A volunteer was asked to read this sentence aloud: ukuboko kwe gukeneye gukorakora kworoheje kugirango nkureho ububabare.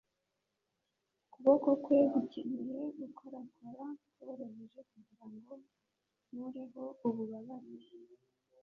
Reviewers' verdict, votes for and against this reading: rejected, 1, 2